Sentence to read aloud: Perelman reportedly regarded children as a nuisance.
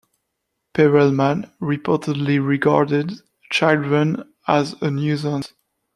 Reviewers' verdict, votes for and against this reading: rejected, 1, 2